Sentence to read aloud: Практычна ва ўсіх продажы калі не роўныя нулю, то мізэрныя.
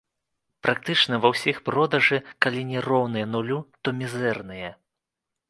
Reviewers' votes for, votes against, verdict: 2, 0, accepted